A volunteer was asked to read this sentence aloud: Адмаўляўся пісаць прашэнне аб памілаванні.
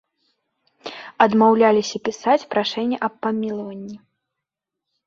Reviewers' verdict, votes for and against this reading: rejected, 1, 3